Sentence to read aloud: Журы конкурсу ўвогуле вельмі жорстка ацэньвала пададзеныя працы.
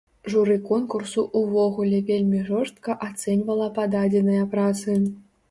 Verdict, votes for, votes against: accepted, 2, 0